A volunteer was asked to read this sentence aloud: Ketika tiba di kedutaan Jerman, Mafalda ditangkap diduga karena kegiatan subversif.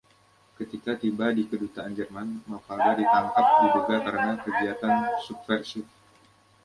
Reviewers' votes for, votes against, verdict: 2, 0, accepted